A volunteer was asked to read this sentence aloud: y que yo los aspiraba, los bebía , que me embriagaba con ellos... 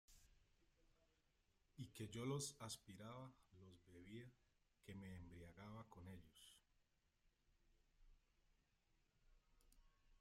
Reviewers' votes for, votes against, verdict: 0, 2, rejected